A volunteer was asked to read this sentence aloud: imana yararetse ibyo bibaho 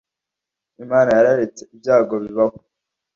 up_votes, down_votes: 1, 2